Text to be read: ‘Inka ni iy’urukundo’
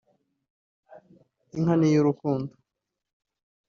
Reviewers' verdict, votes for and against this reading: accepted, 2, 1